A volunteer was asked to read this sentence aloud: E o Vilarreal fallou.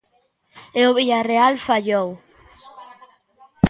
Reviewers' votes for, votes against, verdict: 1, 2, rejected